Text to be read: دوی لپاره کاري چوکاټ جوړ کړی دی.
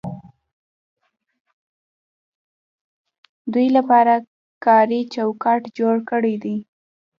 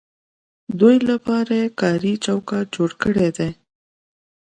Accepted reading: second